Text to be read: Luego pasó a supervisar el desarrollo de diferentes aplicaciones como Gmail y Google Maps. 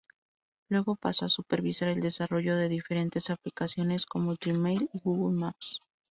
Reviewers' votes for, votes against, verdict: 6, 0, accepted